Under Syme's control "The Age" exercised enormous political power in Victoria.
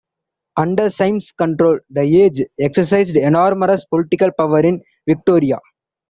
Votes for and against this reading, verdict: 2, 0, accepted